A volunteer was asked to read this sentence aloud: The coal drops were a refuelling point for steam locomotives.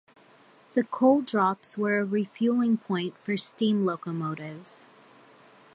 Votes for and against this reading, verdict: 2, 0, accepted